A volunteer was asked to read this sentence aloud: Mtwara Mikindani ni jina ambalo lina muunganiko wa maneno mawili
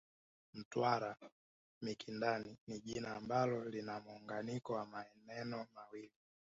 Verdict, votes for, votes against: accepted, 2, 1